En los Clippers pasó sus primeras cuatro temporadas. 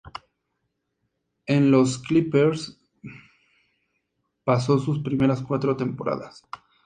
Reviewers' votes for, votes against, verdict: 2, 0, accepted